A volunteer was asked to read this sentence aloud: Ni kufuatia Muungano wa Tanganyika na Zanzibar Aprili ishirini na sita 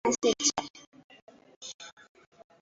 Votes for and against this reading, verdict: 0, 2, rejected